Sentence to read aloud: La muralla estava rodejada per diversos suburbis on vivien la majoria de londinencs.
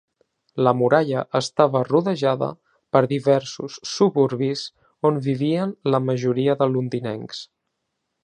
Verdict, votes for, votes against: accepted, 4, 0